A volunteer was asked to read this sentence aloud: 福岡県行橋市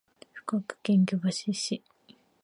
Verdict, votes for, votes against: accepted, 2, 1